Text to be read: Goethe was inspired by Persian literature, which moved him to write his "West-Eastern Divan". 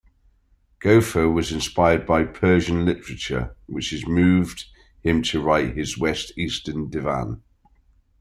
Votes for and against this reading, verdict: 2, 1, accepted